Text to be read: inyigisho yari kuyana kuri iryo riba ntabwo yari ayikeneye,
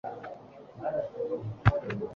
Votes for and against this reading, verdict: 0, 3, rejected